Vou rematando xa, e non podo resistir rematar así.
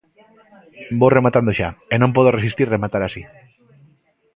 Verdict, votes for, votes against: rejected, 1, 2